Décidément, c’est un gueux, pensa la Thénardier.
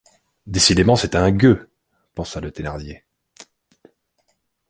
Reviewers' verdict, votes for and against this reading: rejected, 1, 2